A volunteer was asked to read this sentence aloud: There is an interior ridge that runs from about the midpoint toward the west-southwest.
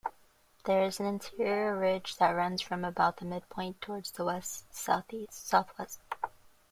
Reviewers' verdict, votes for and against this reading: rejected, 0, 2